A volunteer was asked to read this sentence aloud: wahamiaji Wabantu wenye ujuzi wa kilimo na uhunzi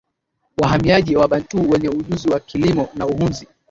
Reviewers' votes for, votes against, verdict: 2, 0, accepted